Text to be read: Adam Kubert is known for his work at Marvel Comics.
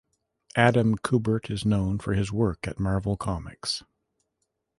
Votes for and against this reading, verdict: 2, 0, accepted